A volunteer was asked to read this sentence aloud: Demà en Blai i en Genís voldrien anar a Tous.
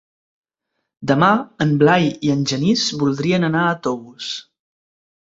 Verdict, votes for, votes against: accepted, 3, 0